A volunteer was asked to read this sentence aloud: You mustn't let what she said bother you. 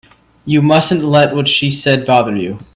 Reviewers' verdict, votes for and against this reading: accepted, 2, 0